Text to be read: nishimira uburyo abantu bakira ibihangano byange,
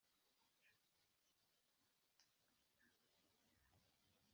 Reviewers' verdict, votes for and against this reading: rejected, 1, 2